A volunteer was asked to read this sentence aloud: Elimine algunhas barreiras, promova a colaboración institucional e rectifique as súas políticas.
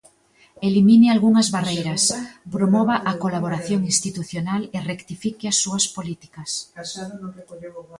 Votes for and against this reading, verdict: 1, 2, rejected